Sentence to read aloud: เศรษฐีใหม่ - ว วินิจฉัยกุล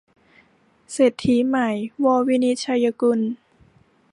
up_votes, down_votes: 0, 2